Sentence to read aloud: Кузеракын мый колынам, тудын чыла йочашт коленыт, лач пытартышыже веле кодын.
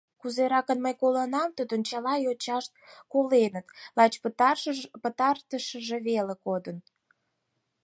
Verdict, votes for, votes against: rejected, 0, 4